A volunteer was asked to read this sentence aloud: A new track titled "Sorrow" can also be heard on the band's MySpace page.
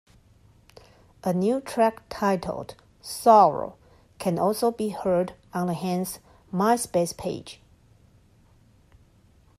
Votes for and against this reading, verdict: 0, 2, rejected